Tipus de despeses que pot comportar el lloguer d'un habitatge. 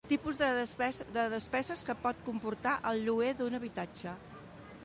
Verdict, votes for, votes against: rejected, 0, 3